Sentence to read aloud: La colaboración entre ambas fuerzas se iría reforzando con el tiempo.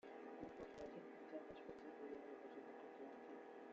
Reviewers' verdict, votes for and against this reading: rejected, 0, 2